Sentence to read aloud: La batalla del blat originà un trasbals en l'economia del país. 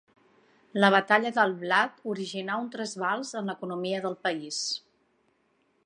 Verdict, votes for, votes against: accepted, 3, 0